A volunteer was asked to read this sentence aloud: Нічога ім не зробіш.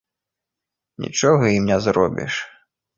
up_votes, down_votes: 2, 0